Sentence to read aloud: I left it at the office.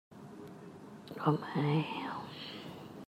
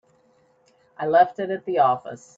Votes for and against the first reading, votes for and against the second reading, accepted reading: 0, 2, 2, 0, second